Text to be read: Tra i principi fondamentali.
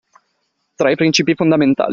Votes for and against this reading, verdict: 2, 0, accepted